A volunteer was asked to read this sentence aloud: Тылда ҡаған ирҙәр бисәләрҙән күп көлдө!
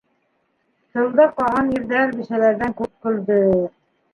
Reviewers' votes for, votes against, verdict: 1, 2, rejected